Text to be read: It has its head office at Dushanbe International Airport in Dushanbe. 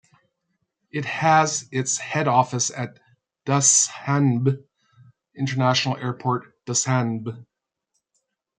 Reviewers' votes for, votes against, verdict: 0, 2, rejected